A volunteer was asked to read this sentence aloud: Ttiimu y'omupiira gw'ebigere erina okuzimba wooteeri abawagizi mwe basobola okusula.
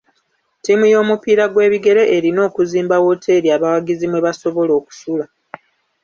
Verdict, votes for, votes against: rejected, 1, 2